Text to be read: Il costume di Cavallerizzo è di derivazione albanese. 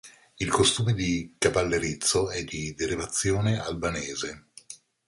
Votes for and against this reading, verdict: 2, 0, accepted